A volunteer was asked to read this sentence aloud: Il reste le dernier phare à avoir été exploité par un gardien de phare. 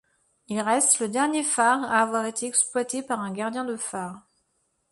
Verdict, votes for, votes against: accepted, 2, 0